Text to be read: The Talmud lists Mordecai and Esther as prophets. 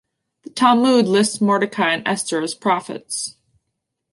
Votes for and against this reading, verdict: 1, 2, rejected